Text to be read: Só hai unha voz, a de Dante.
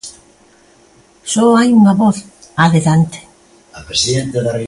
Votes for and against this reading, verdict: 1, 2, rejected